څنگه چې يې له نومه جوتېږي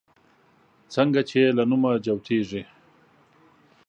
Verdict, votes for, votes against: rejected, 1, 2